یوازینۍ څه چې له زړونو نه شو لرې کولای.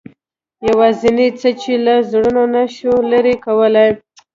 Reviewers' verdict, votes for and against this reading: accepted, 2, 0